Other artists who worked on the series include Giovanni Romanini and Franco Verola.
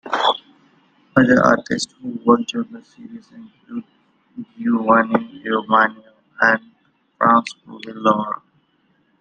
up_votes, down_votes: 1, 2